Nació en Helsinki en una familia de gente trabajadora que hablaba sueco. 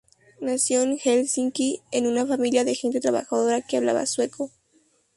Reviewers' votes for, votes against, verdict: 4, 0, accepted